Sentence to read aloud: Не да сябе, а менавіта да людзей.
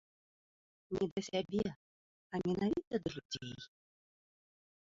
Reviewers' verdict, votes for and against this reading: accepted, 2, 0